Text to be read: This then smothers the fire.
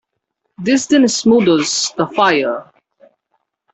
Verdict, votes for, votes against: rejected, 1, 2